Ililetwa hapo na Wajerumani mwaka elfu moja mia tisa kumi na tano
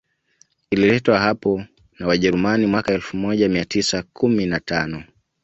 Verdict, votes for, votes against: accepted, 2, 0